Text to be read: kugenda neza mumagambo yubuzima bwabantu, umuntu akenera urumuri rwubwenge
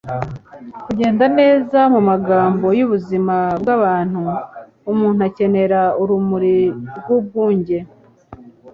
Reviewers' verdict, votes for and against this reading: rejected, 1, 2